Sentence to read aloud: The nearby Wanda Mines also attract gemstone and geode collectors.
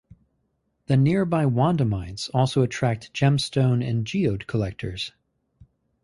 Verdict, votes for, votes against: accepted, 2, 0